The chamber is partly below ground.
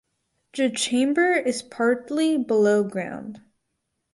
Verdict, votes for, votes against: accepted, 4, 0